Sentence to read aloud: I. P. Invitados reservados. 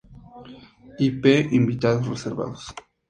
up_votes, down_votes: 2, 0